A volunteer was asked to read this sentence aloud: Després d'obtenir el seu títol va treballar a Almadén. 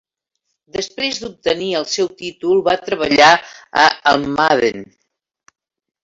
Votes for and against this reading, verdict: 2, 0, accepted